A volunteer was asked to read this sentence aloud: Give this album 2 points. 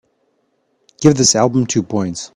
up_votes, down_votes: 0, 2